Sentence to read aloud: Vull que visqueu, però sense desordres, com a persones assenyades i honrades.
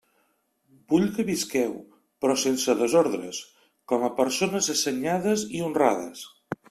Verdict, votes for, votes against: accepted, 3, 0